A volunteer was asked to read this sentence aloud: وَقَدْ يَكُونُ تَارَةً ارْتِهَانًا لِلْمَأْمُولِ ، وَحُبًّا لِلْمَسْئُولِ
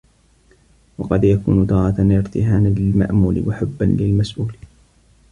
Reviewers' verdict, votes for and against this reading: rejected, 1, 2